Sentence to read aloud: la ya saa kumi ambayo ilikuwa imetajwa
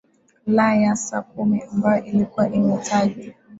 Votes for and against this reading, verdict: 2, 1, accepted